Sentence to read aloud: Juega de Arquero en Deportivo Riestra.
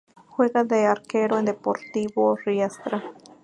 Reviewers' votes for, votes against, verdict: 2, 0, accepted